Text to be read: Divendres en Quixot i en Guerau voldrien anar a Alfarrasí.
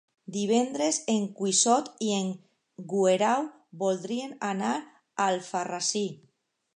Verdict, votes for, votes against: rejected, 0, 2